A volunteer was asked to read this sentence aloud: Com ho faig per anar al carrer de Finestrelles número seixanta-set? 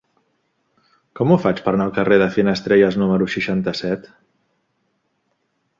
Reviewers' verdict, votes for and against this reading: accepted, 2, 0